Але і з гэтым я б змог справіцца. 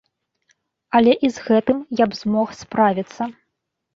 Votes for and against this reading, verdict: 2, 1, accepted